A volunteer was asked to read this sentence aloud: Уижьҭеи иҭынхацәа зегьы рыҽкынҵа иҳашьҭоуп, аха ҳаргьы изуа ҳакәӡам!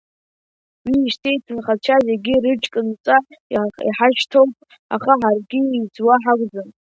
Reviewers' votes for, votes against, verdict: 1, 2, rejected